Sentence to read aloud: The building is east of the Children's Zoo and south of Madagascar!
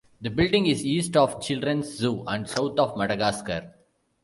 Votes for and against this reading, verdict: 0, 2, rejected